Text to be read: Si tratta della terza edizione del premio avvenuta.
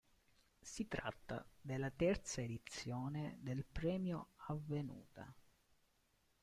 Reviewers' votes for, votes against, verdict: 2, 0, accepted